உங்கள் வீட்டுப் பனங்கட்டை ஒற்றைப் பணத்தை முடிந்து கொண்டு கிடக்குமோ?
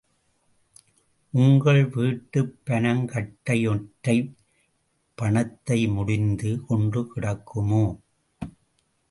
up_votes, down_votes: 0, 2